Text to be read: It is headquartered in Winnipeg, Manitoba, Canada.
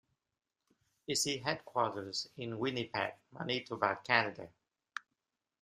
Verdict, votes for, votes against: rejected, 0, 2